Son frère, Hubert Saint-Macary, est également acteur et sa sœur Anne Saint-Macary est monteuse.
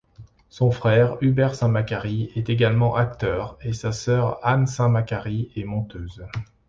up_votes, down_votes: 2, 0